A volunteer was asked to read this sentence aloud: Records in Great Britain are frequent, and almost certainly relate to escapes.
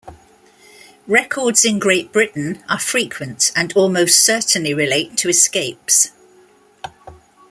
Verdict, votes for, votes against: accepted, 2, 0